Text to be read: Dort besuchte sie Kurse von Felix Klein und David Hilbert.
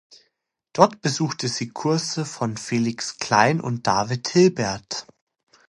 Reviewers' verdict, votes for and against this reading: accepted, 2, 0